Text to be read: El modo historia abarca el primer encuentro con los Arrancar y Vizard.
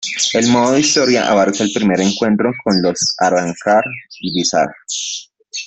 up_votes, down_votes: 2, 0